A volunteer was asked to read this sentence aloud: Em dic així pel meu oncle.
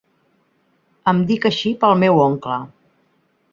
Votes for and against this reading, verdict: 3, 0, accepted